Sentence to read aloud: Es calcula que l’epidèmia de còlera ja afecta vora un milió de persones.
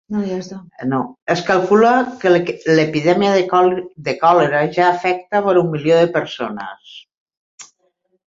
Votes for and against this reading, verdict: 0, 2, rejected